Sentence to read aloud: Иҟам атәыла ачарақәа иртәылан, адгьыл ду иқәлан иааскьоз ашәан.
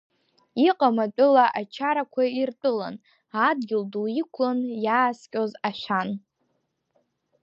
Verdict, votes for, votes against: rejected, 0, 2